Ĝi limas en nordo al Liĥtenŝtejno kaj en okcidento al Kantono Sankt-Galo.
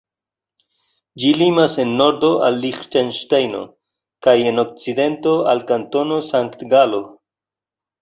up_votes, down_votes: 2, 0